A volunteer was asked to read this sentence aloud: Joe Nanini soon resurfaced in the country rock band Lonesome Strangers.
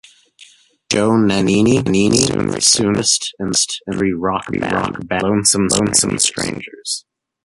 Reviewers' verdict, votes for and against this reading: rejected, 0, 3